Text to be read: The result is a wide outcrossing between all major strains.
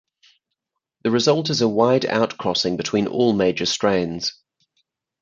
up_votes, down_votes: 4, 0